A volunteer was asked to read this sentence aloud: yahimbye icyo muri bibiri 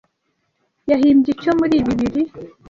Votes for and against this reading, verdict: 2, 0, accepted